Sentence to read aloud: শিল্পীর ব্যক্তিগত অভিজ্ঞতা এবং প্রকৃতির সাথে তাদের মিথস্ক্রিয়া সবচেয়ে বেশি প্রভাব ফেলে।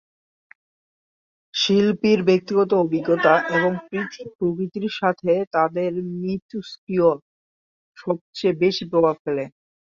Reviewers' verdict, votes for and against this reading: rejected, 1, 2